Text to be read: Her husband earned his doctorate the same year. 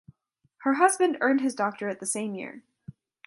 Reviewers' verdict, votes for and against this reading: accepted, 3, 0